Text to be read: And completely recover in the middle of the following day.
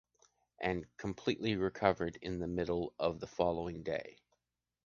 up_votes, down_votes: 0, 2